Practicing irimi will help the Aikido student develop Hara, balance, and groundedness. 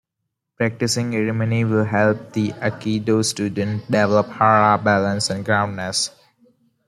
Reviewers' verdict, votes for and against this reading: rejected, 1, 2